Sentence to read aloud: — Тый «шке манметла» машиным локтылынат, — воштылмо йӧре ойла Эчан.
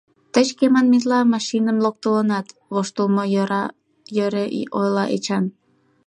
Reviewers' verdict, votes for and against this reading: accepted, 2, 1